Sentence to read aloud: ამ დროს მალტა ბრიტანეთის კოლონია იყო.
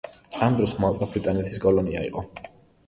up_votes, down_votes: 2, 1